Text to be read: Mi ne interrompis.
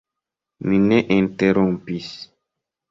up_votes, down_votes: 1, 2